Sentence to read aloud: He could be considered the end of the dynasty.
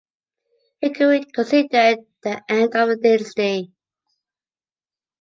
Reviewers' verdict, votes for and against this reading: rejected, 1, 2